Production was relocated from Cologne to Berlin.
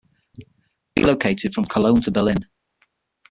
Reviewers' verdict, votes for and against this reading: rejected, 3, 6